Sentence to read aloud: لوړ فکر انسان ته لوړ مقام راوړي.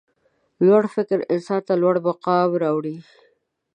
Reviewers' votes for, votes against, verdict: 1, 2, rejected